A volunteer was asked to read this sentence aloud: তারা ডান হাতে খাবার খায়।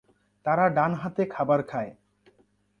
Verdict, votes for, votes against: accepted, 2, 0